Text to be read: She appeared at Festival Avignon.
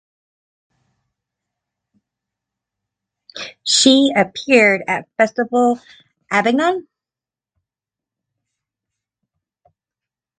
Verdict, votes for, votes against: rejected, 1, 2